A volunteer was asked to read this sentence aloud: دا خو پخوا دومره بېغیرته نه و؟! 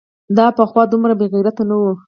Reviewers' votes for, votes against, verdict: 0, 4, rejected